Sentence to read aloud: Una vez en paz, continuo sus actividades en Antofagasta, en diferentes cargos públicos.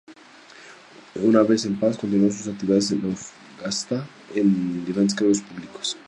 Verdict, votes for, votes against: accepted, 2, 0